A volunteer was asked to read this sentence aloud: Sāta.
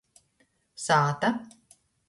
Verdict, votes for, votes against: accepted, 2, 0